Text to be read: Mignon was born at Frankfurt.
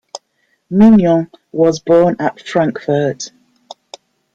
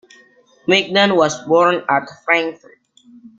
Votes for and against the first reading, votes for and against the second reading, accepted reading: 2, 0, 1, 2, first